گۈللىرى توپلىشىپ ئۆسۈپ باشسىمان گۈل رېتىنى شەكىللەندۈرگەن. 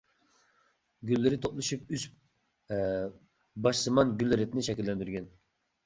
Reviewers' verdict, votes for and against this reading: rejected, 0, 2